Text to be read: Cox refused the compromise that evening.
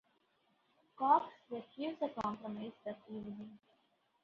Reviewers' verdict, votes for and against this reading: rejected, 0, 2